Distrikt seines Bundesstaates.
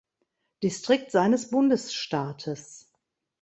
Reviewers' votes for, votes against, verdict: 2, 0, accepted